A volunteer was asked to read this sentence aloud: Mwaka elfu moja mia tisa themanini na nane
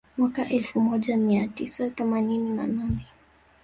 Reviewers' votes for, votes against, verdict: 2, 0, accepted